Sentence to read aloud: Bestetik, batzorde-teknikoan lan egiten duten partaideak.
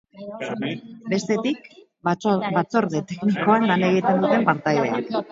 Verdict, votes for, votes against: rejected, 0, 8